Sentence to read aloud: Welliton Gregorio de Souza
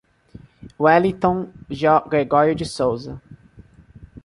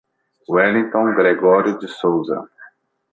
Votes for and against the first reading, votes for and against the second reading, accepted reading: 1, 2, 2, 1, second